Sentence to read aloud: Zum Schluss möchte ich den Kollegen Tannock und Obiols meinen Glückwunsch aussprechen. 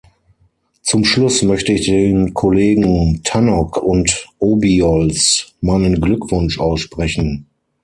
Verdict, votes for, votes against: accepted, 6, 0